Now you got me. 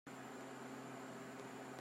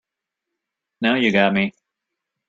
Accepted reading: second